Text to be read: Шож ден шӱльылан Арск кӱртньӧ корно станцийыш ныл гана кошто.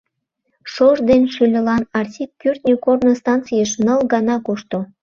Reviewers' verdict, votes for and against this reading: rejected, 0, 2